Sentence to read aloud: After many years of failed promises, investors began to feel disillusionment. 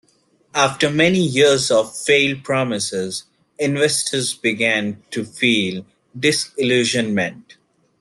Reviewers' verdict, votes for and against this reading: accepted, 2, 0